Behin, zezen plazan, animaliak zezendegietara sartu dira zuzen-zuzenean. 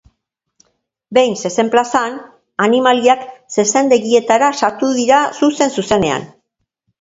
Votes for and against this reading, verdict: 2, 0, accepted